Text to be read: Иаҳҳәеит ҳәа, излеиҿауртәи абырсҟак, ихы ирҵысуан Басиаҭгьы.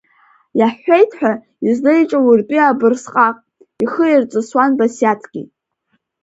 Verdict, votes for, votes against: accepted, 3, 0